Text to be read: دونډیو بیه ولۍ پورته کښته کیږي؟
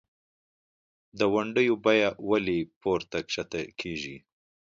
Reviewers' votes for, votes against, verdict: 2, 0, accepted